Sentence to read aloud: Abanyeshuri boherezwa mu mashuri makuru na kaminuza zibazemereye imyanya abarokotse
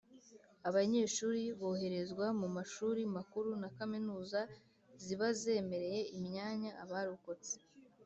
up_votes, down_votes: 2, 0